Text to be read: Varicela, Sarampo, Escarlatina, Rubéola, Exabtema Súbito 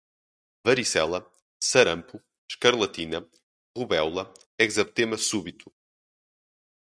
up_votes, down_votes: 2, 0